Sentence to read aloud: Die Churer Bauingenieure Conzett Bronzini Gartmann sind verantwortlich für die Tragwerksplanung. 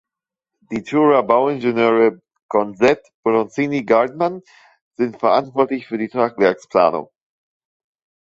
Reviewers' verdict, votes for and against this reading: accepted, 2, 0